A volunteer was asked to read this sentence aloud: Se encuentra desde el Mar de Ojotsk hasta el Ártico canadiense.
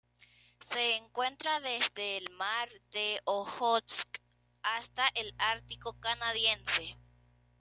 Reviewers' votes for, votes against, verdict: 2, 1, accepted